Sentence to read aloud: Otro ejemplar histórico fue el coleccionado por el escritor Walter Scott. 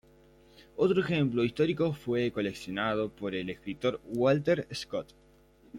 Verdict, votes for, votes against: rejected, 0, 2